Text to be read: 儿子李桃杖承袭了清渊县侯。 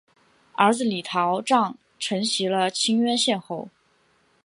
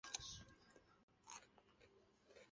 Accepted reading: first